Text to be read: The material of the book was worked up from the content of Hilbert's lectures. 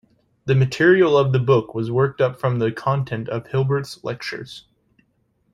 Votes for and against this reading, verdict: 2, 0, accepted